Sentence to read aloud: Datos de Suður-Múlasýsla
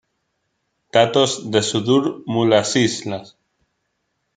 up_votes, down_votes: 2, 0